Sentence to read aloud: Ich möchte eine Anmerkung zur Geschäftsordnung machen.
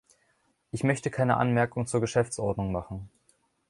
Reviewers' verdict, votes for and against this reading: rejected, 1, 2